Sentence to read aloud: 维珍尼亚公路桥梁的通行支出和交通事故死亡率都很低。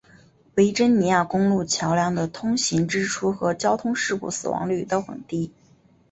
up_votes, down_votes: 2, 0